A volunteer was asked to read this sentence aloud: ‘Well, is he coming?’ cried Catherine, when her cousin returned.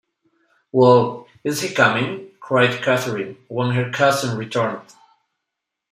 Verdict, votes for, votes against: accepted, 2, 0